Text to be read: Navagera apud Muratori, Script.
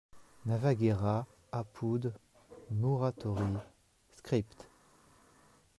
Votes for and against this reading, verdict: 0, 2, rejected